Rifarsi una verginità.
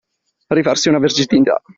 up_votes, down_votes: 1, 2